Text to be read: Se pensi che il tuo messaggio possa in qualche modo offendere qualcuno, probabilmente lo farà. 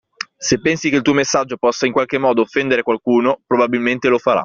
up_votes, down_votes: 2, 0